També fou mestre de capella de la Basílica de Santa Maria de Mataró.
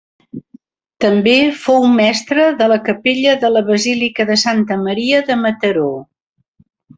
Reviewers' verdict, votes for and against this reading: accepted, 2, 1